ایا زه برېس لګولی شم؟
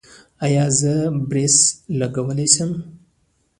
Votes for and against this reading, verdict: 2, 0, accepted